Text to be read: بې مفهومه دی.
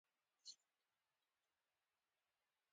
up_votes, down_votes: 0, 2